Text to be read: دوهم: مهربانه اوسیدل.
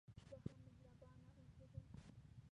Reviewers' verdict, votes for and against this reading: rejected, 2, 3